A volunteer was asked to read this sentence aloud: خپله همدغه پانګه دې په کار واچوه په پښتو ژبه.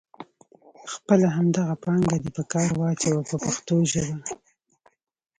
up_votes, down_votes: 0, 2